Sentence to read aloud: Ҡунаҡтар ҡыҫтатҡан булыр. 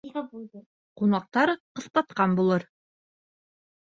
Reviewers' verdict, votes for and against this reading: rejected, 1, 3